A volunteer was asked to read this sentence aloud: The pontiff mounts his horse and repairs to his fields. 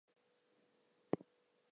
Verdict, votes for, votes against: rejected, 0, 2